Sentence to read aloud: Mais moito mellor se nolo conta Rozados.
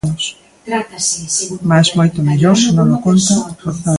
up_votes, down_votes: 0, 2